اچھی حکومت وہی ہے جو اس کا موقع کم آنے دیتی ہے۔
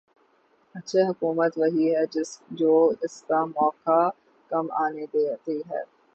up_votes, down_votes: 9, 12